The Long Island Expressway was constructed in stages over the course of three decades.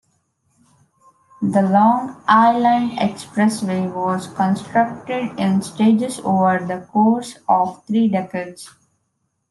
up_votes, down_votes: 3, 0